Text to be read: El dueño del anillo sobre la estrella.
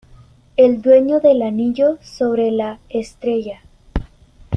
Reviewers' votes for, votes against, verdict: 2, 1, accepted